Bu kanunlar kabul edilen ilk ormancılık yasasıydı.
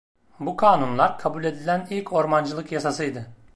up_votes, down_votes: 2, 0